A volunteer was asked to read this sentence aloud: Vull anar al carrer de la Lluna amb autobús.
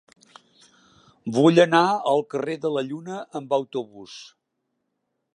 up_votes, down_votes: 3, 0